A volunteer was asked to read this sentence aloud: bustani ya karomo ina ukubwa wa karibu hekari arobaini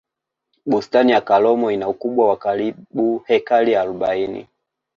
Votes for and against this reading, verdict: 1, 3, rejected